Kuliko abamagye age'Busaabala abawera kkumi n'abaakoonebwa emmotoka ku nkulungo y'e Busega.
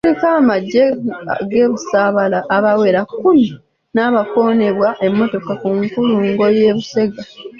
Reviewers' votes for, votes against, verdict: 0, 2, rejected